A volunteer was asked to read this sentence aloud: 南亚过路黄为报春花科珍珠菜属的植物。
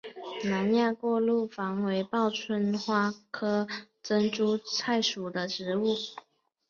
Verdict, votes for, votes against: accepted, 3, 1